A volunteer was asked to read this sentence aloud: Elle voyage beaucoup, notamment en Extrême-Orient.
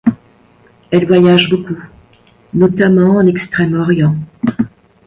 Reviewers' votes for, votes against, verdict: 1, 2, rejected